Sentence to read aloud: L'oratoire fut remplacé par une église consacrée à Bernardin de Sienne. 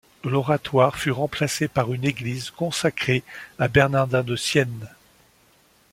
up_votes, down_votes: 2, 0